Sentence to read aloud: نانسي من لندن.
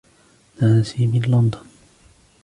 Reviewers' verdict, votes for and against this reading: accepted, 2, 1